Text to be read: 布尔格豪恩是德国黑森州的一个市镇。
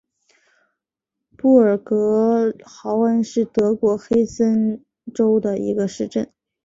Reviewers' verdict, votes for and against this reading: accepted, 8, 1